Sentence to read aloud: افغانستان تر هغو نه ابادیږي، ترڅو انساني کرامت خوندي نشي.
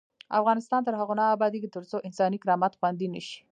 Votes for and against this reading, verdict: 1, 2, rejected